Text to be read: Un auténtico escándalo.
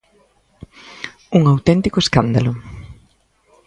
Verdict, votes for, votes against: accepted, 2, 0